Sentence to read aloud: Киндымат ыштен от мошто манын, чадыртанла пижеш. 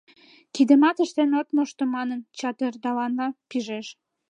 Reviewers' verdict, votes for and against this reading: rejected, 1, 2